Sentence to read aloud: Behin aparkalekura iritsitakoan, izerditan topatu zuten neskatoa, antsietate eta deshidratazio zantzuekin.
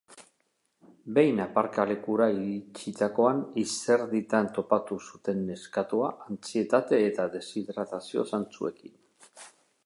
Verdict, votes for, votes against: rejected, 0, 2